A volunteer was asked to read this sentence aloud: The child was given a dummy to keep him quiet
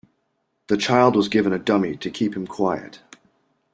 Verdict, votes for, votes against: accepted, 2, 0